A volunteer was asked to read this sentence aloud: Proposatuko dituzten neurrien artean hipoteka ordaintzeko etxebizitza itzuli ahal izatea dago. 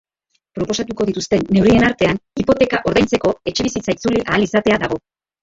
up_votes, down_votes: 1, 2